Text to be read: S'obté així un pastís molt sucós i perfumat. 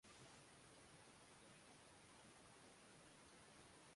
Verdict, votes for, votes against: rejected, 1, 2